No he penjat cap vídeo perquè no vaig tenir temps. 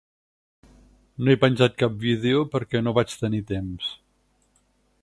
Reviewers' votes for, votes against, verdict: 6, 0, accepted